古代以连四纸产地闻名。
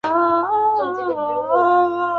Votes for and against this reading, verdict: 0, 2, rejected